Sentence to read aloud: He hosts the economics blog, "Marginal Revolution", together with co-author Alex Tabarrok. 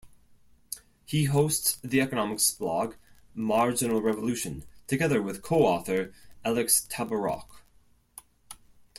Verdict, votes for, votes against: accepted, 2, 0